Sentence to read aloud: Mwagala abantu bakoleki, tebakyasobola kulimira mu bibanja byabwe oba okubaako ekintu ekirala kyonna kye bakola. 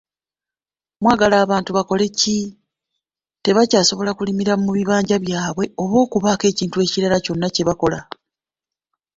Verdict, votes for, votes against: accepted, 2, 0